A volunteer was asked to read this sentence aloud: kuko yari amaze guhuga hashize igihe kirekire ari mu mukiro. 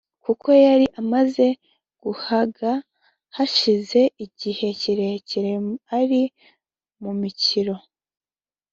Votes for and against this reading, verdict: 0, 2, rejected